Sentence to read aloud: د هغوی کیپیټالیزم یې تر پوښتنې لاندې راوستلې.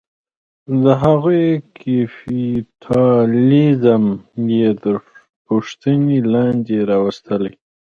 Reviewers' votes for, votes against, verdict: 0, 2, rejected